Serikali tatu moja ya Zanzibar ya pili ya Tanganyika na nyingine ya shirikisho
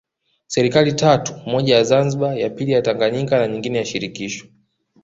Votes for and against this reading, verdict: 2, 0, accepted